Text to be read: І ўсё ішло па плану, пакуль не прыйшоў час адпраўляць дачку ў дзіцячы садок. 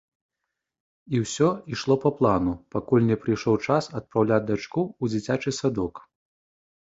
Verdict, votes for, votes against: accepted, 2, 0